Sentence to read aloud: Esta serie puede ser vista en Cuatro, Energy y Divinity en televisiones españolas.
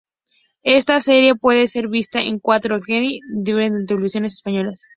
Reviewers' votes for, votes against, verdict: 0, 2, rejected